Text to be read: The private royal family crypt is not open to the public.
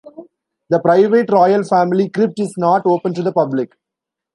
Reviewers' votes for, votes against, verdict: 2, 1, accepted